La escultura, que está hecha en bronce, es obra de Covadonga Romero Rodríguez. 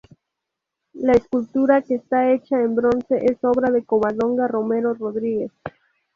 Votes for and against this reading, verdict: 2, 0, accepted